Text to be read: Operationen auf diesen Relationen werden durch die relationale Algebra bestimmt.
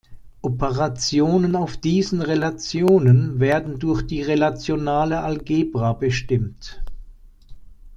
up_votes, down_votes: 1, 2